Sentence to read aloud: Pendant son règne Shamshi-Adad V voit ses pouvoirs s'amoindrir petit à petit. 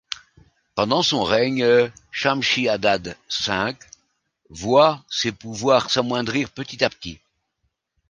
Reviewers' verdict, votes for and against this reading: rejected, 0, 2